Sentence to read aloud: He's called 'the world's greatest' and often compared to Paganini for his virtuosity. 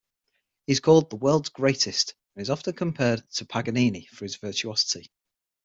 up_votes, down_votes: 6, 0